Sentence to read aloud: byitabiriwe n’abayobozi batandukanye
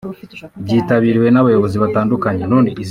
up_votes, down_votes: 1, 2